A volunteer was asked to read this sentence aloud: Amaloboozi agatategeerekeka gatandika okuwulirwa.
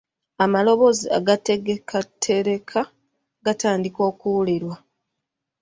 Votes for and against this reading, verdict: 2, 3, rejected